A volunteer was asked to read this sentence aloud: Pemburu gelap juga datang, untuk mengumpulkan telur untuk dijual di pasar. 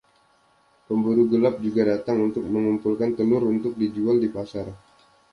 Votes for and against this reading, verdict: 2, 0, accepted